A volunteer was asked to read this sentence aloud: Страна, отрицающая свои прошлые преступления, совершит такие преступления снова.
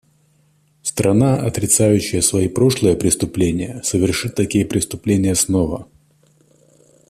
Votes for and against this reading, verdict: 2, 0, accepted